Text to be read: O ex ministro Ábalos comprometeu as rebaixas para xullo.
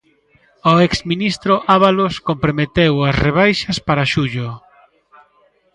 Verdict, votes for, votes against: rejected, 1, 2